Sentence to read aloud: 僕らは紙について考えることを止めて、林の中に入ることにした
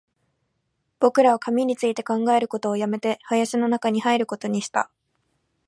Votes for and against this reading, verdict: 2, 0, accepted